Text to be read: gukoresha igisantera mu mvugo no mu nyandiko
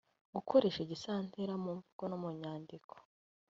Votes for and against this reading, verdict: 2, 0, accepted